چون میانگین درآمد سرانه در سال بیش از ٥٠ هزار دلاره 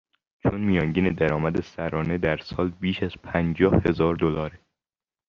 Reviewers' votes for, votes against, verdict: 0, 2, rejected